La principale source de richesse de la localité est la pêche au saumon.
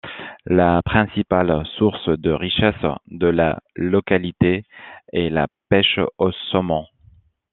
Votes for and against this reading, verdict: 2, 0, accepted